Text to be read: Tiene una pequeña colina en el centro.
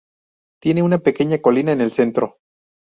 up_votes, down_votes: 2, 0